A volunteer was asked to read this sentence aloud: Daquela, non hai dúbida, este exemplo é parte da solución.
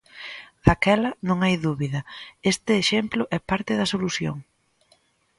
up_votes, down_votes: 2, 0